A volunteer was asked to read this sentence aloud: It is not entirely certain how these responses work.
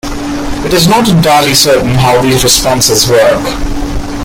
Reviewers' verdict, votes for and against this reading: rejected, 0, 2